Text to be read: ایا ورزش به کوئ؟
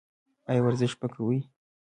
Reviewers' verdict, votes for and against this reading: rejected, 1, 2